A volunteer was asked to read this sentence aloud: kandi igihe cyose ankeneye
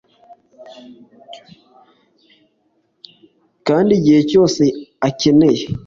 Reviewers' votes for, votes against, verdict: 0, 2, rejected